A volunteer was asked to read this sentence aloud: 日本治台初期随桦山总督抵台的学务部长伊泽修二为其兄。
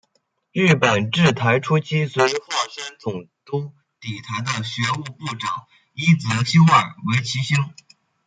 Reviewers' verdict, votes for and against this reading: accepted, 2, 0